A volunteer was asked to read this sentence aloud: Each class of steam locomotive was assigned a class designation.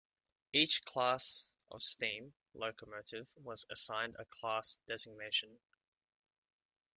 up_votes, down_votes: 2, 0